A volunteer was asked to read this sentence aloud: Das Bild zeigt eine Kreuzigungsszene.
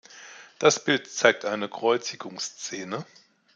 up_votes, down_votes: 2, 0